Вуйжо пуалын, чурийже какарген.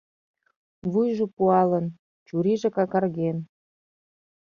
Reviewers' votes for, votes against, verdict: 2, 0, accepted